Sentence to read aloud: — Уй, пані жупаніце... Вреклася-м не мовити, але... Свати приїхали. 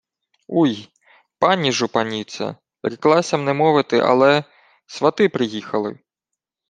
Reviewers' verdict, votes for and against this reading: accepted, 2, 0